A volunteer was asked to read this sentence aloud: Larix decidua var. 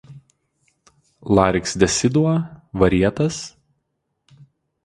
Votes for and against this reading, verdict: 0, 2, rejected